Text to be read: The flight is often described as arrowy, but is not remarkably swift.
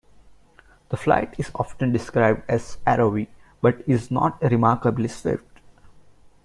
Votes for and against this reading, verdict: 2, 1, accepted